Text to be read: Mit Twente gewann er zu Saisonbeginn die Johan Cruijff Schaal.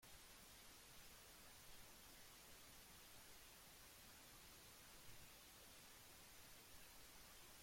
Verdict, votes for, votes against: rejected, 0, 2